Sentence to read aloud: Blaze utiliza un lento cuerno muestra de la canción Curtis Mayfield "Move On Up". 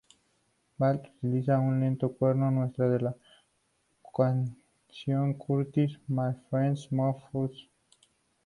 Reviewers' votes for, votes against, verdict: 0, 2, rejected